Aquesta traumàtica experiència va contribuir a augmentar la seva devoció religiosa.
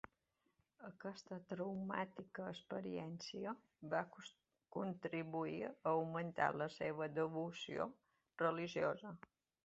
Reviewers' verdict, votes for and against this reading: rejected, 1, 2